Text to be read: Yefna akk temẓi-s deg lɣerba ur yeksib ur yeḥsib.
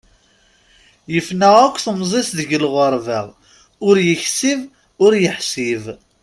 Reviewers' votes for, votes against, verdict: 2, 0, accepted